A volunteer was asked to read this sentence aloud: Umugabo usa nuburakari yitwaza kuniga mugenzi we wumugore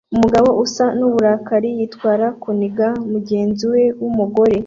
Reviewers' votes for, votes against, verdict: 0, 2, rejected